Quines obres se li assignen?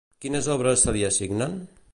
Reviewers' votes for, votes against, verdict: 2, 0, accepted